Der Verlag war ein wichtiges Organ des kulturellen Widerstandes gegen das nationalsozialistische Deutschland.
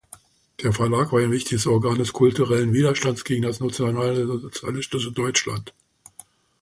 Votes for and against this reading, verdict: 0, 2, rejected